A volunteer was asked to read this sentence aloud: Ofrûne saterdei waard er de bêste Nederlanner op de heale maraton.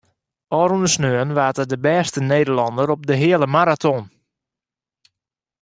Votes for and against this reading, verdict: 2, 1, accepted